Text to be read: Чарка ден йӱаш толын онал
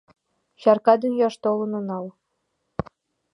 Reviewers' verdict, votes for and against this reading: accepted, 2, 0